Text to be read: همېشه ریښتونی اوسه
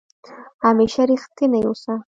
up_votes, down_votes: 2, 0